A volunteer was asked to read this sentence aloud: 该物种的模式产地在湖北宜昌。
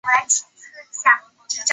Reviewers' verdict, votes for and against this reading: accepted, 4, 1